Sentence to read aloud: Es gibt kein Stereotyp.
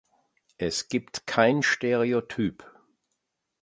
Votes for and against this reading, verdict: 2, 0, accepted